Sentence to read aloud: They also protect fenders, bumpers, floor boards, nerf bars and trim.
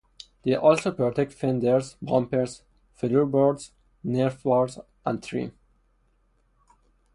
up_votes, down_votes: 4, 0